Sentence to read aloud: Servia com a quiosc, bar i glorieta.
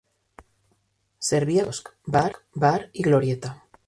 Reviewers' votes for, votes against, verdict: 0, 2, rejected